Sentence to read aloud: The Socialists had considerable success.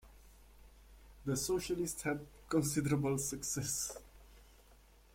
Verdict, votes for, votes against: accepted, 2, 0